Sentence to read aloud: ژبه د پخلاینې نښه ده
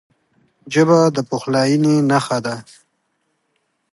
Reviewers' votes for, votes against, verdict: 2, 1, accepted